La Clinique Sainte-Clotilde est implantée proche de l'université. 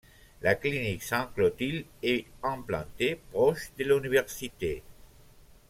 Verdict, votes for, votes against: rejected, 0, 2